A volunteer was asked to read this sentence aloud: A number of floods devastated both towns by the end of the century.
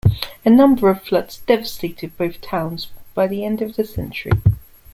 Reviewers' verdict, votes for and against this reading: accepted, 2, 0